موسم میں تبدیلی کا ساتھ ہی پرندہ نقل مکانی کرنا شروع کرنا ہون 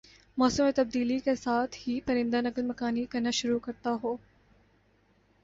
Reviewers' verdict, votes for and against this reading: accepted, 2, 0